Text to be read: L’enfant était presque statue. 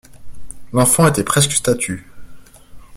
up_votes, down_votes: 2, 0